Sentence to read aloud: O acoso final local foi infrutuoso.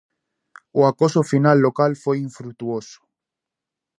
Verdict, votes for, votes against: accepted, 2, 0